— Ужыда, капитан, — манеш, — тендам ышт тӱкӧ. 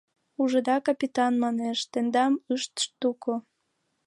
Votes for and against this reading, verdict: 0, 2, rejected